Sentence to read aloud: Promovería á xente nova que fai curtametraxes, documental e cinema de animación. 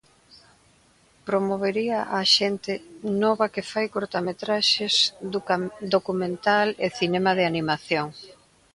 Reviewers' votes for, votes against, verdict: 0, 2, rejected